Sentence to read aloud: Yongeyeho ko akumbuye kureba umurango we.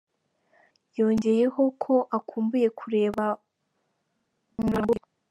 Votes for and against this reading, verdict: 2, 3, rejected